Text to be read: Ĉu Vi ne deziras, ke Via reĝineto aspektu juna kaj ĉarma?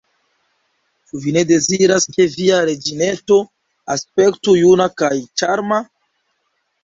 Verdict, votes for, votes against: accepted, 2, 0